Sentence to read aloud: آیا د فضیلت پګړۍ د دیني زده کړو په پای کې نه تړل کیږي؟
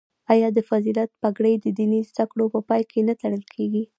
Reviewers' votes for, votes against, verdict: 0, 2, rejected